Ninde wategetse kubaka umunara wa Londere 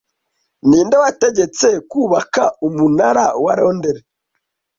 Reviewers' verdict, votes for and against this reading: accepted, 2, 0